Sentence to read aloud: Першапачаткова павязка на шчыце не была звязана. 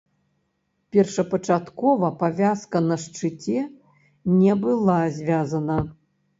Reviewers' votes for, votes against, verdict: 3, 0, accepted